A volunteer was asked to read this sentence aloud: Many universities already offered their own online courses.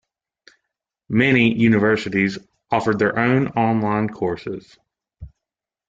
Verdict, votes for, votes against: rejected, 1, 2